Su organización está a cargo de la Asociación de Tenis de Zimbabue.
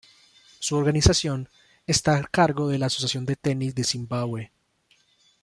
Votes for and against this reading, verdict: 1, 2, rejected